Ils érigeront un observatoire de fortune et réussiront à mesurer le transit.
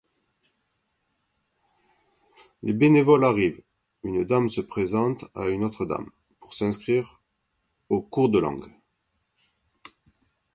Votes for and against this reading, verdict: 0, 2, rejected